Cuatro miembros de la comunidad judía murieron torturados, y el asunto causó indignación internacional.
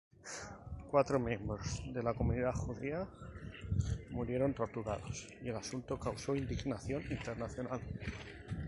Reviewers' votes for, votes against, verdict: 4, 0, accepted